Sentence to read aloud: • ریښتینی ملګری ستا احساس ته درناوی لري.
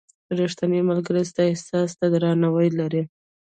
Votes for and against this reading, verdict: 2, 0, accepted